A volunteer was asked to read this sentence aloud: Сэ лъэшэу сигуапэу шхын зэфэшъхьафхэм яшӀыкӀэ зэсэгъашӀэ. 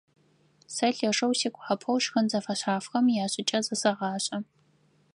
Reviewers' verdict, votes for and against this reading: rejected, 2, 4